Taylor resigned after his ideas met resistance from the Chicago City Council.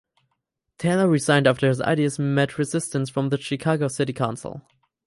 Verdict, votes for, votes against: accepted, 4, 0